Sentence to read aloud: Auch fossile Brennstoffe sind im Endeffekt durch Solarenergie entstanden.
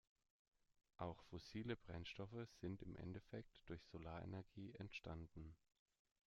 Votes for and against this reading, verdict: 2, 0, accepted